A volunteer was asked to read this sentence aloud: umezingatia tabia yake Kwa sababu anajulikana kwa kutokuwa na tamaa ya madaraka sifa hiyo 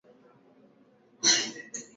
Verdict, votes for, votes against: rejected, 0, 2